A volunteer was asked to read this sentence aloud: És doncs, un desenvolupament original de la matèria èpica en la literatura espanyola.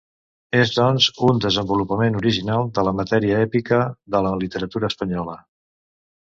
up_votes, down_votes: 1, 2